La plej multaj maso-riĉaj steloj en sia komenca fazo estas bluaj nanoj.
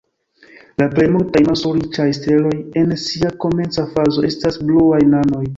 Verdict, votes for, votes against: accepted, 2, 0